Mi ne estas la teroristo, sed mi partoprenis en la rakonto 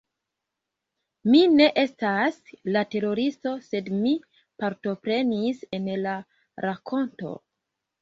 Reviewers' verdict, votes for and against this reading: rejected, 1, 2